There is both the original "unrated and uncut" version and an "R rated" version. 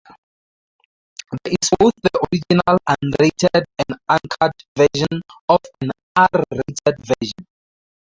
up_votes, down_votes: 2, 2